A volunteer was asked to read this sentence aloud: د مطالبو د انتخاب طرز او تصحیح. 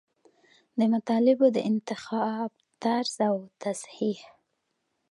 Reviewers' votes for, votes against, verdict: 2, 0, accepted